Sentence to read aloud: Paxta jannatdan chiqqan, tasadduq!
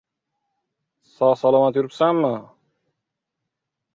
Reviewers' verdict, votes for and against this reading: rejected, 0, 2